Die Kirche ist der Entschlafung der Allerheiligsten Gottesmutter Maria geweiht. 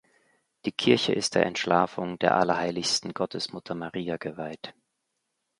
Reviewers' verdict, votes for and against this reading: accepted, 2, 0